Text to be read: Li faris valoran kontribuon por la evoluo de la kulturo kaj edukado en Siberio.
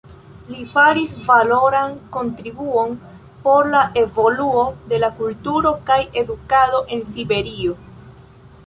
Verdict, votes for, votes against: rejected, 2, 3